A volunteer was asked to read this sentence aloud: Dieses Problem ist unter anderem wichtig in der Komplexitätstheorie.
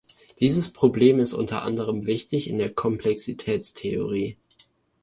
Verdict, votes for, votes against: accepted, 2, 0